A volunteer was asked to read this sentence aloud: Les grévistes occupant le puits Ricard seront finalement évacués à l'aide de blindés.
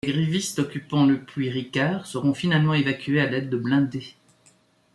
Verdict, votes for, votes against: rejected, 0, 2